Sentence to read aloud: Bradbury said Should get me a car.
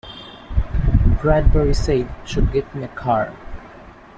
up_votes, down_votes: 2, 1